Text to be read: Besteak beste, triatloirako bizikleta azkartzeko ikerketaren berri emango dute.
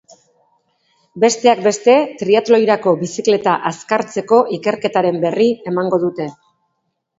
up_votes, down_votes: 2, 0